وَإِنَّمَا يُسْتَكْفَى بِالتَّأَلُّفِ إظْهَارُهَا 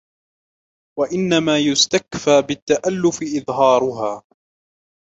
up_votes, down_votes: 2, 0